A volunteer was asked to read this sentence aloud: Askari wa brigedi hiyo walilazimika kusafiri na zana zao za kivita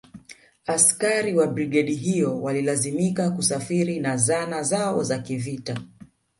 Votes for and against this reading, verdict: 2, 0, accepted